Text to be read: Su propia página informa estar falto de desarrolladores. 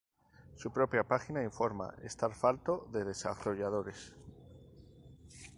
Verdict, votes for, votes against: accepted, 2, 0